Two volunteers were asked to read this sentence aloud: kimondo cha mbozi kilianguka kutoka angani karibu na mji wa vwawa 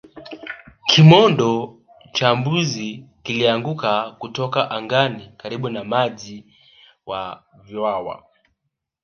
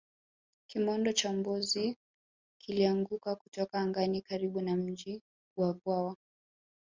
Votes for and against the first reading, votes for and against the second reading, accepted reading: 1, 2, 2, 0, second